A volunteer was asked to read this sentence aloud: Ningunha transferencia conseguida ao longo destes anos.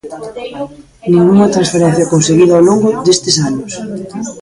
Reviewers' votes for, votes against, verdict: 0, 2, rejected